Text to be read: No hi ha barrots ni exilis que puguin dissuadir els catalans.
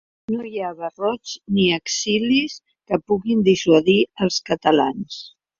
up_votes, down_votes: 2, 0